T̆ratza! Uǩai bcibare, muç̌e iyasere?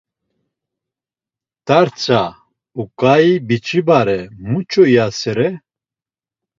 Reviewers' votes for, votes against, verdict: 1, 2, rejected